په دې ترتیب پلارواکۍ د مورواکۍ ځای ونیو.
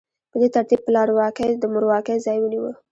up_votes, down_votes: 2, 0